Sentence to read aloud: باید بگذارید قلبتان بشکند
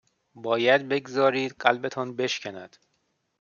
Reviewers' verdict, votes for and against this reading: accepted, 3, 0